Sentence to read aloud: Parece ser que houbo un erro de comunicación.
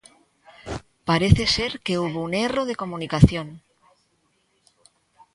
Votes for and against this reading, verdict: 2, 0, accepted